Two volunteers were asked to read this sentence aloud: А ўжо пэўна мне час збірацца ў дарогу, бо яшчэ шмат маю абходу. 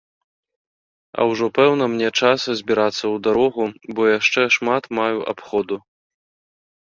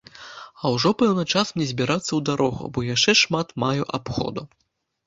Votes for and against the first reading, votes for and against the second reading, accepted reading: 2, 0, 1, 2, first